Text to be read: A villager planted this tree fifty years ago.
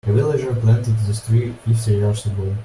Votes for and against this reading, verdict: 1, 2, rejected